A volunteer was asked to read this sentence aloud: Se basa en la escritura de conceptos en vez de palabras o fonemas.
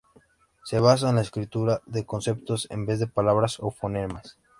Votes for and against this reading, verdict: 2, 0, accepted